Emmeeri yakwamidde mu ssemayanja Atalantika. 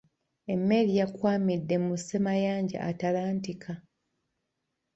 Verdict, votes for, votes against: accepted, 2, 1